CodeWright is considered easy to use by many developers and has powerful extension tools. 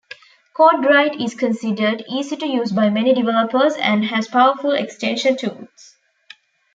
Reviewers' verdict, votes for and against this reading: accepted, 2, 0